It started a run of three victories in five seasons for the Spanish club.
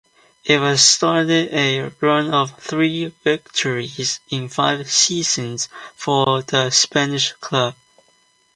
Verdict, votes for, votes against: accepted, 2, 1